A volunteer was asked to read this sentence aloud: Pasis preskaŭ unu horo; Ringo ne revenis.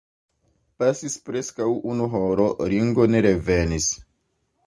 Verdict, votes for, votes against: rejected, 0, 2